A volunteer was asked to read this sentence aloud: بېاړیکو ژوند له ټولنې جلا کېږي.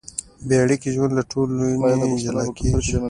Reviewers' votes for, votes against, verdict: 0, 2, rejected